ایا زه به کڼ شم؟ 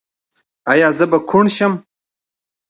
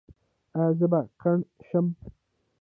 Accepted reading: first